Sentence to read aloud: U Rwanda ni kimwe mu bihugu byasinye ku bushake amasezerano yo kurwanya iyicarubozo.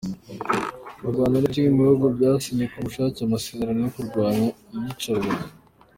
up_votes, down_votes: 2, 1